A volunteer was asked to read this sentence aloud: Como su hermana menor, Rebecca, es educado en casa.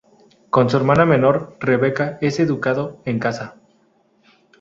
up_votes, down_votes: 0, 2